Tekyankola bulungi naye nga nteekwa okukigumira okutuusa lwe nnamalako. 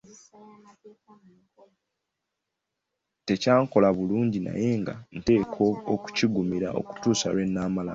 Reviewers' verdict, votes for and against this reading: rejected, 1, 2